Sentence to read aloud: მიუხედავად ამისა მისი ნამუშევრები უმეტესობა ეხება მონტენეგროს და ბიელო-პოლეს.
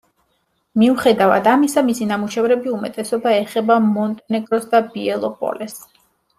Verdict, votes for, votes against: rejected, 0, 2